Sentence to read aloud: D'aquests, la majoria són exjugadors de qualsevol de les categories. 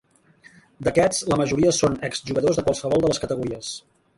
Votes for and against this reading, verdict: 1, 2, rejected